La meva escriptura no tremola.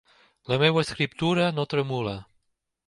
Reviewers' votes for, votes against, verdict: 2, 0, accepted